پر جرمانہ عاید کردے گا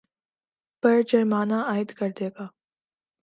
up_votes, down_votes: 2, 0